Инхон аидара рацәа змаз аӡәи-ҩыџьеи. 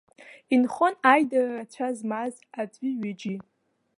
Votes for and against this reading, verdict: 2, 1, accepted